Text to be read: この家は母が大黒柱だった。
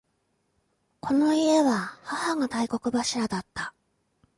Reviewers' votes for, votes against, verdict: 2, 0, accepted